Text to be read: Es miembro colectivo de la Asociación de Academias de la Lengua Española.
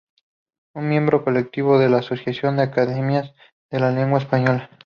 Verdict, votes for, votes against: accepted, 4, 0